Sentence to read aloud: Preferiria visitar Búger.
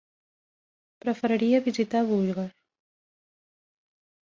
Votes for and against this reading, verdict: 0, 2, rejected